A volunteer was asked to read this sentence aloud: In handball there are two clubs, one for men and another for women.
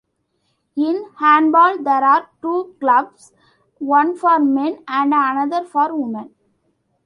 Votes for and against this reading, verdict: 0, 2, rejected